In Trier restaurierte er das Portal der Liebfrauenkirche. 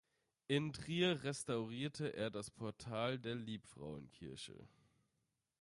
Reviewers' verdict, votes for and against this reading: accepted, 2, 0